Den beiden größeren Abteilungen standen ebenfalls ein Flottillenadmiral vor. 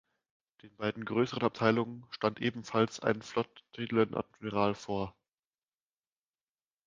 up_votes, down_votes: 1, 2